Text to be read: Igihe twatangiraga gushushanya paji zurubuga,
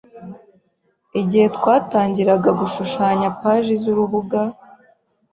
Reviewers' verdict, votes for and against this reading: accepted, 2, 0